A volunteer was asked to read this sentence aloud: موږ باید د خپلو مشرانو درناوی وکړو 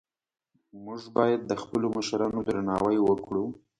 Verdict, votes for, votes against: accepted, 2, 0